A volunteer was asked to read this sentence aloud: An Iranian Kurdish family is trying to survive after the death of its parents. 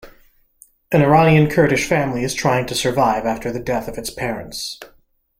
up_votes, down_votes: 2, 0